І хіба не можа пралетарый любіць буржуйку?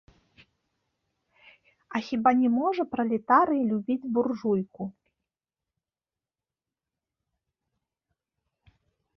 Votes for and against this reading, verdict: 3, 2, accepted